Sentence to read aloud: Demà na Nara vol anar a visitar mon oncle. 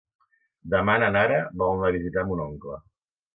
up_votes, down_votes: 1, 2